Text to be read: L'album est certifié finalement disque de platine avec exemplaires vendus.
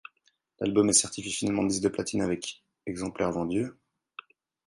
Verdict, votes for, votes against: rejected, 2, 4